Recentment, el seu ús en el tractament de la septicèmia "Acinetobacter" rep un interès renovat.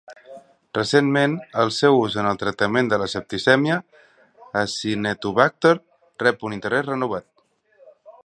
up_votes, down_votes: 2, 0